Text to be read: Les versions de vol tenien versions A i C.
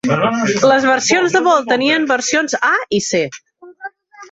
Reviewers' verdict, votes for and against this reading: rejected, 0, 3